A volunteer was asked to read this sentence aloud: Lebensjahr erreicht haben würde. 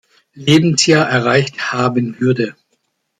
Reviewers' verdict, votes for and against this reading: accepted, 2, 0